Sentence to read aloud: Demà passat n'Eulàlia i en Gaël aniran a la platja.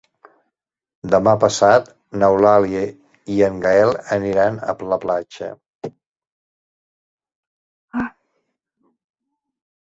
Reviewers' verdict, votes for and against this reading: rejected, 1, 2